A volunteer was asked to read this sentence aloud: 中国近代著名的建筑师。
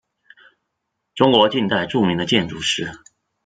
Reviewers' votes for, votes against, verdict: 2, 0, accepted